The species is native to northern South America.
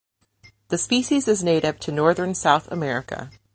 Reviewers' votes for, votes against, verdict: 2, 1, accepted